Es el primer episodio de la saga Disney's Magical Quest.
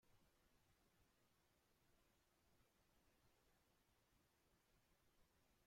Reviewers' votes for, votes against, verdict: 0, 2, rejected